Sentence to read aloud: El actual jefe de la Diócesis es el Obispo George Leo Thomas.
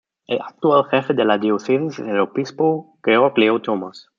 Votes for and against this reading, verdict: 0, 2, rejected